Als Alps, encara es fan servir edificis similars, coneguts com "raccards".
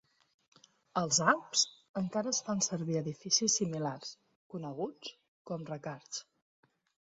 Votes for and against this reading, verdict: 2, 0, accepted